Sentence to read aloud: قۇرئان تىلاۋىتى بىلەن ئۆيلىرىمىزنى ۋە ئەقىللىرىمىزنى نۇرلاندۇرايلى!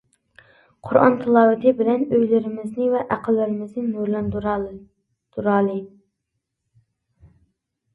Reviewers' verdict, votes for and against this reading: rejected, 0, 2